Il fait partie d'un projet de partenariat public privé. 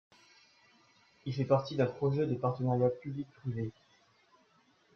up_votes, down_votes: 2, 1